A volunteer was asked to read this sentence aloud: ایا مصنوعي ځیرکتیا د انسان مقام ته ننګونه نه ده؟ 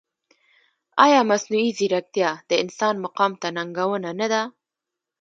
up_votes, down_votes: 0, 3